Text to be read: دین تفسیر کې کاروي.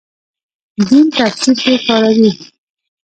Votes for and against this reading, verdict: 2, 0, accepted